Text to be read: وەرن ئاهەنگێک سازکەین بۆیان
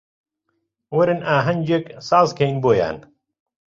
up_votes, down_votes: 2, 0